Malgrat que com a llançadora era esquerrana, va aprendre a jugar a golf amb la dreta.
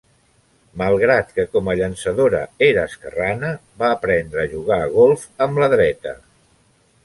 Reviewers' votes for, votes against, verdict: 3, 0, accepted